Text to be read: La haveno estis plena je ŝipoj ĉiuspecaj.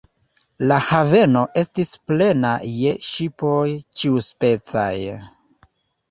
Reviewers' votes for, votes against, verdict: 2, 0, accepted